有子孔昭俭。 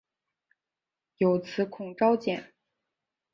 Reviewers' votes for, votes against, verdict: 3, 2, accepted